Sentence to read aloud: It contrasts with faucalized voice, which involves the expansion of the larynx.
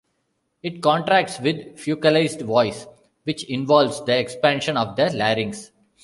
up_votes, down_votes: 1, 2